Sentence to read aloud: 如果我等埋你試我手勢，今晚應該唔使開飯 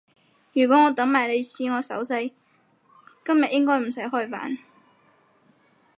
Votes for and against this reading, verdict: 0, 4, rejected